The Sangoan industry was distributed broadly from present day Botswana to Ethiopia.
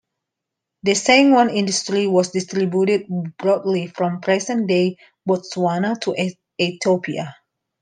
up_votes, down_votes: 0, 2